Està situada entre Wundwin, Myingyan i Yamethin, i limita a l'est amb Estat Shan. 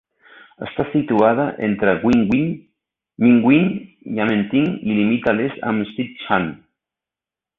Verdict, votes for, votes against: rejected, 1, 2